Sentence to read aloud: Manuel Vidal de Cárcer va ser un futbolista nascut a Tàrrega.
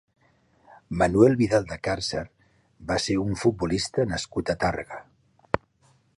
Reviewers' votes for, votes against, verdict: 3, 0, accepted